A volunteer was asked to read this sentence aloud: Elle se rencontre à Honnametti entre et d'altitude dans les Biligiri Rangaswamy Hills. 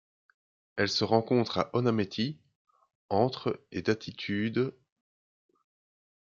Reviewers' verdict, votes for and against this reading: rejected, 0, 2